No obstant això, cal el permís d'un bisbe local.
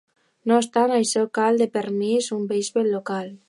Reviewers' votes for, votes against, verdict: 0, 2, rejected